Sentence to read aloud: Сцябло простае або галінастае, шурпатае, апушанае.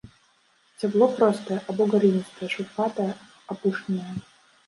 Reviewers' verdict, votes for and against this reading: rejected, 1, 2